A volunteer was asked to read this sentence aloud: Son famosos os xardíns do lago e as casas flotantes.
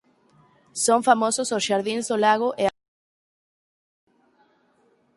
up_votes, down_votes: 0, 4